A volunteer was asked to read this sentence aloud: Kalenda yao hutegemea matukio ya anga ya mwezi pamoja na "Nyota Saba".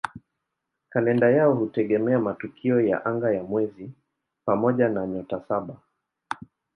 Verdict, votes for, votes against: accepted, 14, 3